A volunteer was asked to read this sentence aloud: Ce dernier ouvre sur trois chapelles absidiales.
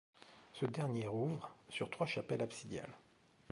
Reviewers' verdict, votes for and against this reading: rejected, 0, 2